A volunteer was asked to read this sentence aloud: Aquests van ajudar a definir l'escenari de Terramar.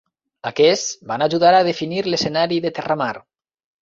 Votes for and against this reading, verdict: 4, 0, accepted